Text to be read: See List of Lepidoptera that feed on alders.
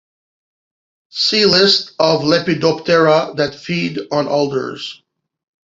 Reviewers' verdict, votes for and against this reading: accepted, 2, 1